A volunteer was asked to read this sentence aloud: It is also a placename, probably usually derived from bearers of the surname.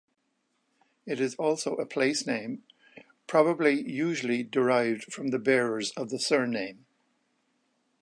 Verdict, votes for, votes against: rejected, 1, 2